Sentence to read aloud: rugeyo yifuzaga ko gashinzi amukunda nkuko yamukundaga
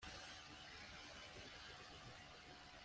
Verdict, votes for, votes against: rejected, 1, 2